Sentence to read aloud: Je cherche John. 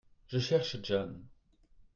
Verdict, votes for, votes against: accepted, 2, 0